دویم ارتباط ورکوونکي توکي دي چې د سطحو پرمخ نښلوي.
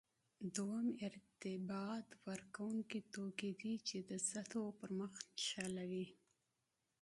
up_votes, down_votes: 2, 1